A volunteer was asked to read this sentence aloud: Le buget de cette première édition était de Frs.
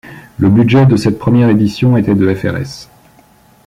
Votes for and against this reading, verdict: 1, 2, rejected